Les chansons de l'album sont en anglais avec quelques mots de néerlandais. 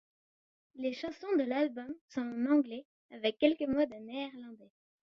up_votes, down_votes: 2, 1